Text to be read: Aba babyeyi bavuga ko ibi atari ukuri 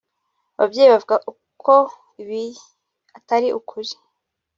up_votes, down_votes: 2, 1